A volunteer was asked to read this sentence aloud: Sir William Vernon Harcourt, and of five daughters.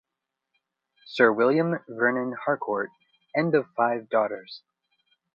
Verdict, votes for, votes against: accepted, 2, 0